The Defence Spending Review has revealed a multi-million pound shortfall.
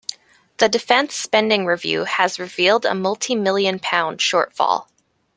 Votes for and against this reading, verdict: 2, 0, accepted